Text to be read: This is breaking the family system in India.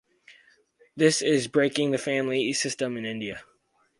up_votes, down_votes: 4, 0